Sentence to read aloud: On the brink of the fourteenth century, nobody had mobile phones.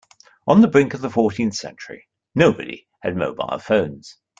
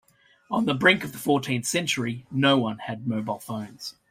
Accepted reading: first